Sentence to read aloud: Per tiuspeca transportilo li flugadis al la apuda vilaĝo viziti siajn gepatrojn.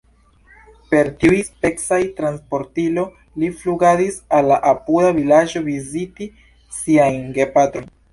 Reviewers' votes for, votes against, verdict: 1, 2, rejected